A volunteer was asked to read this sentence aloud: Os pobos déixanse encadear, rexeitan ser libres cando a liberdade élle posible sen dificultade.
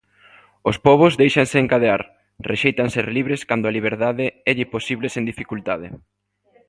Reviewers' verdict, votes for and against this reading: accepted, 2, 0